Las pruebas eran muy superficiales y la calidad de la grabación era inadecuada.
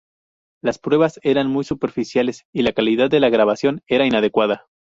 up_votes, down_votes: 2, 0